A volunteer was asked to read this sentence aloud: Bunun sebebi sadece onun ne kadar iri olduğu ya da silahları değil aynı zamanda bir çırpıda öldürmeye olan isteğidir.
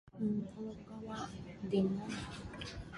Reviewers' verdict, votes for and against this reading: rejected, 0, 2